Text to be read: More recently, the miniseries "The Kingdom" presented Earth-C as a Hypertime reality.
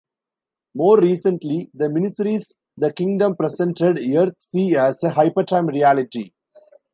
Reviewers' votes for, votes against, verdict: 2, 0, accepted